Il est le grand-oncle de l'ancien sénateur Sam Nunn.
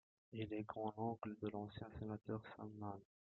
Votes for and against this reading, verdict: 0, 2, rejected